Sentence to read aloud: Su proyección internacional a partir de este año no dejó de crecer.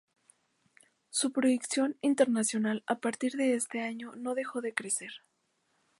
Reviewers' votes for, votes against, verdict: 2, 0, accepted